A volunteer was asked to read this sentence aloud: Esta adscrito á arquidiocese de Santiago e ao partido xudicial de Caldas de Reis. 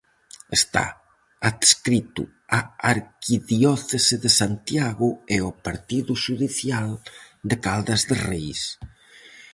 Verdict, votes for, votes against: rejected, 0, 2